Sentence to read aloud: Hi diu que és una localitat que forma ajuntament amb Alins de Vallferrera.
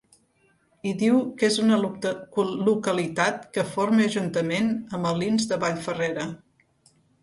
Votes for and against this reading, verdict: 1, 3, rejected